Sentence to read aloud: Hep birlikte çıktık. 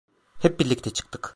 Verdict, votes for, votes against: rejected, 1, 2